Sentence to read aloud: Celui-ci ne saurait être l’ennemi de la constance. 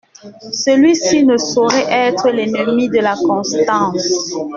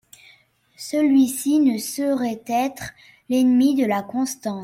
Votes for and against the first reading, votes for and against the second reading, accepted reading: 2, 0, 1, 2, first